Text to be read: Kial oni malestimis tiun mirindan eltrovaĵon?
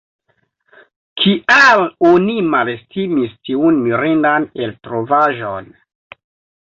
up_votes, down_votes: 1, 2